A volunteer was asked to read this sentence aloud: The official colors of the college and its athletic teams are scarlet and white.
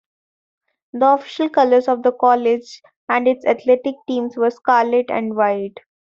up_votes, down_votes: 0, 2